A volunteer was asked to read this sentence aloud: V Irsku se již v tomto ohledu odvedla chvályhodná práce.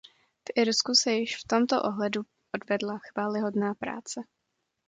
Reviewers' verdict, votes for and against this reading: accepted, 2, 0